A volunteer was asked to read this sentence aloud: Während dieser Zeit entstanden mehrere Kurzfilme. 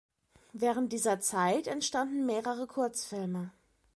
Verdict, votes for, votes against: accepted, 2, 0